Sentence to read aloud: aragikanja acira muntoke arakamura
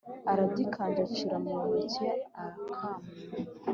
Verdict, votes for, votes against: accepted, 2, 0